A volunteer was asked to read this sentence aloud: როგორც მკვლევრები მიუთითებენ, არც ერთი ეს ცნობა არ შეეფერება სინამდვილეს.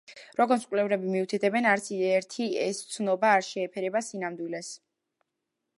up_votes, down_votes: 1, 2